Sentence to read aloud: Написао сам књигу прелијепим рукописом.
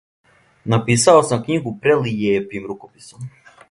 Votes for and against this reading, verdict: 2, 0, accepted